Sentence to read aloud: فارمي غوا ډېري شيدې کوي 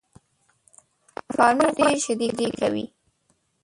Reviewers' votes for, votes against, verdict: 0, 2, rejected